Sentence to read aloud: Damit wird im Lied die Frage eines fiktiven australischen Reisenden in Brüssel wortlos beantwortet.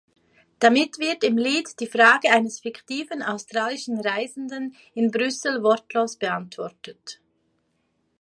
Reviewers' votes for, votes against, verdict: 2, 0, accepted